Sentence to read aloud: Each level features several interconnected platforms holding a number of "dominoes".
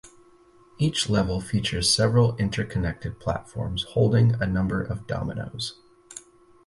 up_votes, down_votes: 2, 2